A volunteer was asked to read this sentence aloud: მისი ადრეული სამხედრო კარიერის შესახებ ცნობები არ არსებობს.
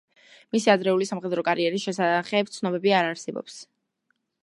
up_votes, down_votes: 1, 2